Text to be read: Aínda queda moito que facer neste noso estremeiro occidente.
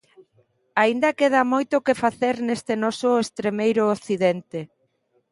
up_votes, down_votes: 2, 0